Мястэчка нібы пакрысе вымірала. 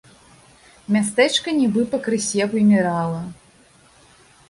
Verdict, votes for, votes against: accepted, 3, 0